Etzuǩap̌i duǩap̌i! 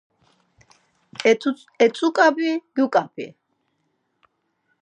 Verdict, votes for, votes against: rejected, 0, 4